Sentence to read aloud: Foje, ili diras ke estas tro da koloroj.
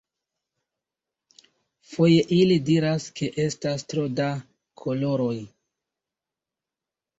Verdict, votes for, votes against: accepted, 2, 1